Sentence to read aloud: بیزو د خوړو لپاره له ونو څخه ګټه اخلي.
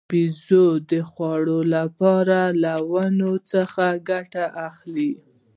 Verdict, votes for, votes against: accepted, 2, 0